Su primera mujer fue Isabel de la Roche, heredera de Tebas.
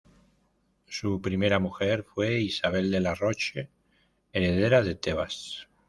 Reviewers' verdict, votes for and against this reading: accepted, 2, 0